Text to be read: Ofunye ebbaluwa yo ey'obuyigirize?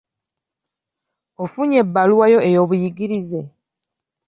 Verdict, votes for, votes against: accepted, 2, 0